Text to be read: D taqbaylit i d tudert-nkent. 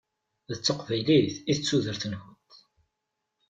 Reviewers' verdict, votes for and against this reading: accepted, 2, 0